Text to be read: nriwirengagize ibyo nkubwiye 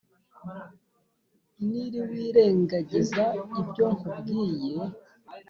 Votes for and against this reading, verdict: 1, 2, rejected